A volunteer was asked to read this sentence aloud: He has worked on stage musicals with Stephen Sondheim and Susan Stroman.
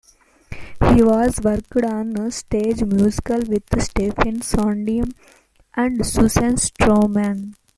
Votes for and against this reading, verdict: 0, 2, rejected